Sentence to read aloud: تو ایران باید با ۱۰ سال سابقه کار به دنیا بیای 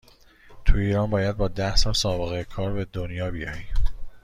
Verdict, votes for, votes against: rejected, 0, 2